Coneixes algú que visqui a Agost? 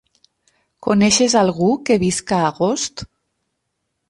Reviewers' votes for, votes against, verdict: 2, 6, rejected